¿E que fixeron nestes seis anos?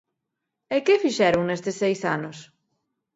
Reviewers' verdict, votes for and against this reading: accepted, 2, 0